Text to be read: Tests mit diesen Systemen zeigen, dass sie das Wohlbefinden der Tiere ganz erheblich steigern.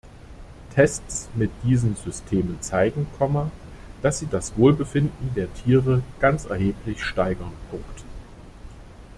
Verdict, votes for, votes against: rejected, 0, 2